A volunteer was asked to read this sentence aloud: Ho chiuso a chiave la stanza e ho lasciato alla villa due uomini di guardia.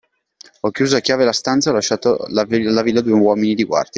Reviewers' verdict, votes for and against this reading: rejected, 1, 2